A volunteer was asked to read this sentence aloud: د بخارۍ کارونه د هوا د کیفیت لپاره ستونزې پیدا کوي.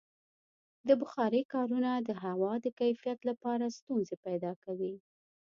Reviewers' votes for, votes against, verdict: 2, 0, accepted